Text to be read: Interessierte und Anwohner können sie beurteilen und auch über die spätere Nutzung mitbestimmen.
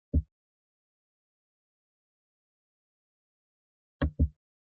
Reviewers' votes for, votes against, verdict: 0, 2, rejected